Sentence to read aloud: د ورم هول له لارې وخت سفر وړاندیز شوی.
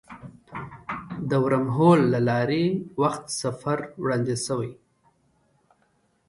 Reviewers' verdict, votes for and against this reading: accepted, 2, 0